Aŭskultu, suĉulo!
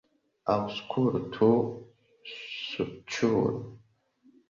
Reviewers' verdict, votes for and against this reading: rejected, 0, 2